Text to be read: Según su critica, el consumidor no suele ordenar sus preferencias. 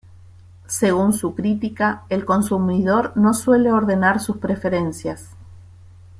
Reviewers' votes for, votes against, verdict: 2, 0, accepted